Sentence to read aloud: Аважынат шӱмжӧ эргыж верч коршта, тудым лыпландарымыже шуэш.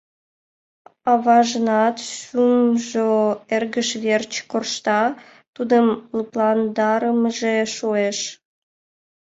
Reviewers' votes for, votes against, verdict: 0, 3, rejected